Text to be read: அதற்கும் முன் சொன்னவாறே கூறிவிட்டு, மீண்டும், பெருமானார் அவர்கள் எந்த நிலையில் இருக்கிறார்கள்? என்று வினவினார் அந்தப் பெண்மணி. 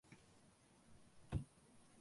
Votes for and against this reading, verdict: 0, 2, rejected